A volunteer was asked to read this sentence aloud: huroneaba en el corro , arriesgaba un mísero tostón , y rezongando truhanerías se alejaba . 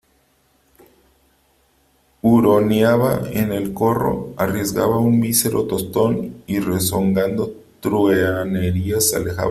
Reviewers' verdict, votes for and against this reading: accepted, 2, 1